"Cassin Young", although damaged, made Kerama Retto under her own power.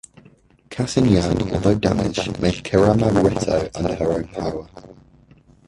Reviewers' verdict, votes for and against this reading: rejected, 0, 2